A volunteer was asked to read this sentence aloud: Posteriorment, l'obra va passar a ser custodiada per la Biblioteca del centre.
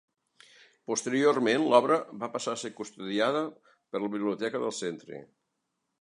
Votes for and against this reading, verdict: 4, 0, accepted